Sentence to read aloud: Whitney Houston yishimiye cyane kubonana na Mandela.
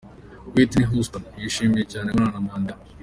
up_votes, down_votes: 0, 2